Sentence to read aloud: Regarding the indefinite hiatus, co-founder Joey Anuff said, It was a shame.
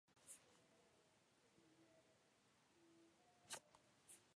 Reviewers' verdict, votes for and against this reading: rejected, 0, 2